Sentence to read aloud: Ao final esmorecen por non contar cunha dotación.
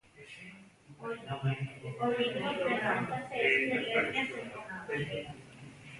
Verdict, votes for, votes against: rejected, 0, 2